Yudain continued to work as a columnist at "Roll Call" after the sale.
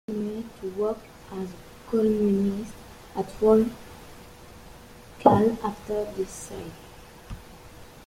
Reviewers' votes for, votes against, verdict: 1, 2, rejected